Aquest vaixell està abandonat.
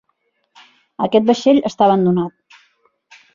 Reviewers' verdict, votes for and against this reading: accepted, 3, 0